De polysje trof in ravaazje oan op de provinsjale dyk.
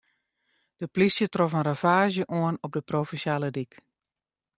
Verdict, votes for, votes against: accepted, 2, 0